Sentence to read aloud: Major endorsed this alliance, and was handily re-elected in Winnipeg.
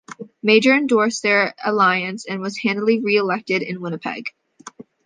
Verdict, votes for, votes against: rejected, 1, 2